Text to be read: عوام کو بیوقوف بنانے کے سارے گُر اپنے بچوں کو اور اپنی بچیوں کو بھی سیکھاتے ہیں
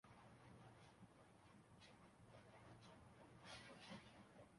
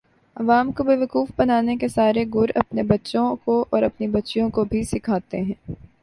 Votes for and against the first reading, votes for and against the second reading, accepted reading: 0, 2, 3, 2, second